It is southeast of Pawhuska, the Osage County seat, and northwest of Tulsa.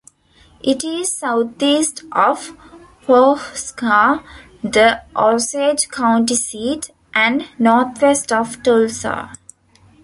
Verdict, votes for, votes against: rejected, 0, 2